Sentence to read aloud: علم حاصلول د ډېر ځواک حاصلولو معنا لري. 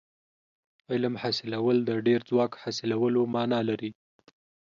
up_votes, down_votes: 2, 0